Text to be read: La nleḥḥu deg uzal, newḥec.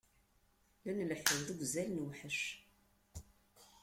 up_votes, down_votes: 2, 0